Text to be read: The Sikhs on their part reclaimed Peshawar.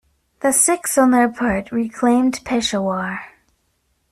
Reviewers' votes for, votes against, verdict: 1, 2, rejected